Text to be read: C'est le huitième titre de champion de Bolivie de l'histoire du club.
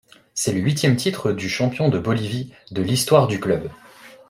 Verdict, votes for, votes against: accepted, 2, 0